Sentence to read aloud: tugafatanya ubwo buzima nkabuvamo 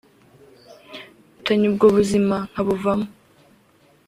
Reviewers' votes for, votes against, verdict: 1, 2, rejected